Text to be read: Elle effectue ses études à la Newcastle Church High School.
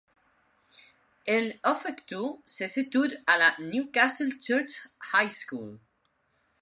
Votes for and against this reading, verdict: 1, 2, rejected